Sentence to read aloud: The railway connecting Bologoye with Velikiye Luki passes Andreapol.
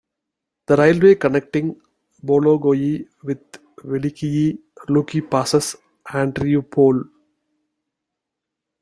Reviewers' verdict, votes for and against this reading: accepted, 2, 0